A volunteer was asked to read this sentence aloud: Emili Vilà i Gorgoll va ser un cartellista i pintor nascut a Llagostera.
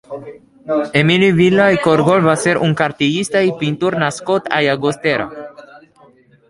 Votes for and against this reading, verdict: 0, 2, rejected